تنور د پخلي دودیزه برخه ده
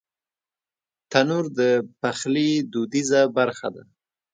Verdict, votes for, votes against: accepted, 2, 0